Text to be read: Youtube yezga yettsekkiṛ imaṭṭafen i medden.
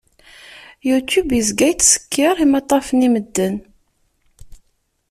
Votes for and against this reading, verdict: 2, 0, accepted